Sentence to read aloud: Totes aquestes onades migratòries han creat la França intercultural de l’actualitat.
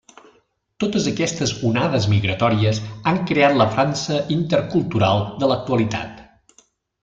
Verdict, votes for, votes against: accepted, 3, 0